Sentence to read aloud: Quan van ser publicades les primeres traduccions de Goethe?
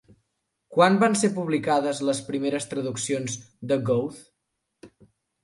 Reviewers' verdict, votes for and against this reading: rejected, 0, 2